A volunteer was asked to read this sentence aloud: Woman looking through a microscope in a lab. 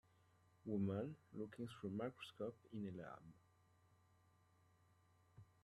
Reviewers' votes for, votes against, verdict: 0, 2, rejected